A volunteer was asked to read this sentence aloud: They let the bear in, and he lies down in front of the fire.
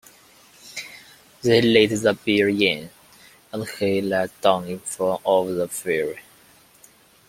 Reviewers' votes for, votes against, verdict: 2, 0, accepted